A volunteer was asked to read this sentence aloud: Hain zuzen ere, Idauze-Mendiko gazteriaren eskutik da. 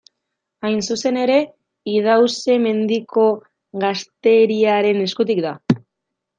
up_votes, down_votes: 1, 2